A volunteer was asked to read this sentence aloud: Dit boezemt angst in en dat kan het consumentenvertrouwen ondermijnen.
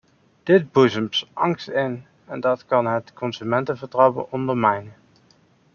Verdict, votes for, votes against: rejected, 1, 2